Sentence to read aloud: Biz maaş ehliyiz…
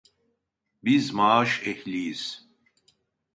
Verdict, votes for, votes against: accepted, 2, 0